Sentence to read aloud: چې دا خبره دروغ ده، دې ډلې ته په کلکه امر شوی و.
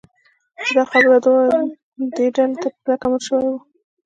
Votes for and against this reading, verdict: 1, 2, rejected